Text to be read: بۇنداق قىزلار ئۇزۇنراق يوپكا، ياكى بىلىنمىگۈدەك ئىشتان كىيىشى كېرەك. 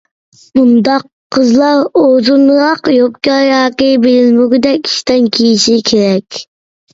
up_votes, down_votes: 2, 1